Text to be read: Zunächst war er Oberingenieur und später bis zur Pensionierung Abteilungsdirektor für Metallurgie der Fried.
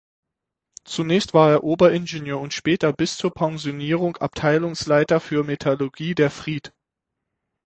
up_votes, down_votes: 3, 6